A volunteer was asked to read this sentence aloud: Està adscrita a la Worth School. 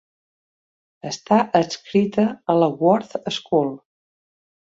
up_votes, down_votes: 2, 0